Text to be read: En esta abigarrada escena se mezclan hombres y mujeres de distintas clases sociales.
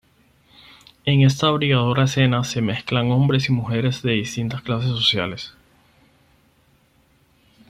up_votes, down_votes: 4, 0